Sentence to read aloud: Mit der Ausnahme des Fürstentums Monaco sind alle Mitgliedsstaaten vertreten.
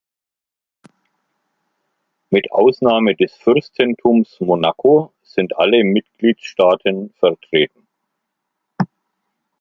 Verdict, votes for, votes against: rejected, 0, 2